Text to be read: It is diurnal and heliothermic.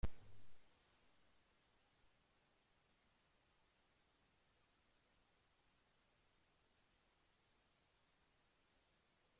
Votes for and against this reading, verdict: 0, 2, rejected